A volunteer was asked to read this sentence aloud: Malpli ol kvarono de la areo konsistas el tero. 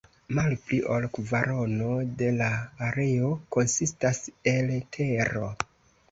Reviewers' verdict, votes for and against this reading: accepted, 2, 0